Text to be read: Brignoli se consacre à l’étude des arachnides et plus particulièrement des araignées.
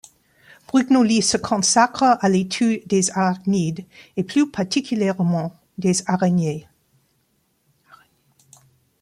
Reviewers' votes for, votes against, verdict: 1, 2, rejected